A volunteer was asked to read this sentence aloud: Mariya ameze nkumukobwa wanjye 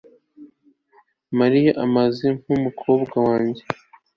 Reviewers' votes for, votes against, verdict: 0, 2, rejected